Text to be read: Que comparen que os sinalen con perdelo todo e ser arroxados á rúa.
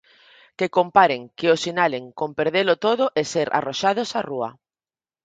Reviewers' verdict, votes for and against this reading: accepted, 4, 0